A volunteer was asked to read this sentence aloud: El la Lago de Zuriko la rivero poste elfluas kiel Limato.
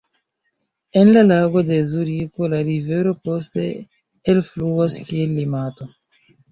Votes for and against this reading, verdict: 0, 2, rejected